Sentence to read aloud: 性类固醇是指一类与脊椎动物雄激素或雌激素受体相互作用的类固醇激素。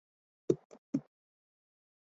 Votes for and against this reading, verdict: 0, 5, rejected